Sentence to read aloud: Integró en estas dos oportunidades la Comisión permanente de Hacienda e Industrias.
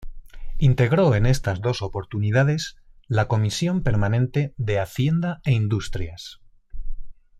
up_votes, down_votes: 2, 0